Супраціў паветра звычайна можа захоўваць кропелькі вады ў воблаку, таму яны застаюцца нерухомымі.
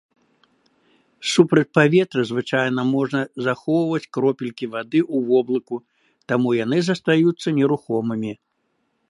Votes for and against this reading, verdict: 0, 2, rejected